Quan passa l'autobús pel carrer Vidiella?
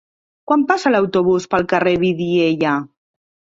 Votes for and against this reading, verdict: 4, 0, accepted